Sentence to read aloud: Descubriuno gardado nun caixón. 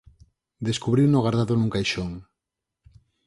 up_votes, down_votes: 4, 0